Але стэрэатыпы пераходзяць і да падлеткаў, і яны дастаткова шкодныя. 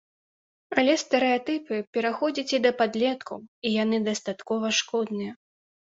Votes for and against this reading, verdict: 2, 0, accepted